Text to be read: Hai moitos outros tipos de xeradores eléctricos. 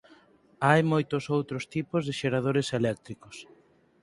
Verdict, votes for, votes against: accepted, 4, 0